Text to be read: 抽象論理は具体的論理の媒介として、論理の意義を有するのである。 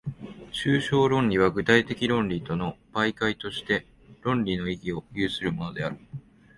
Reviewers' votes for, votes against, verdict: 1, 2, rejected